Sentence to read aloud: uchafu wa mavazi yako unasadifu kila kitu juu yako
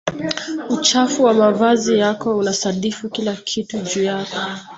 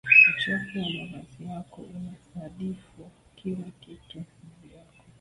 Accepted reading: first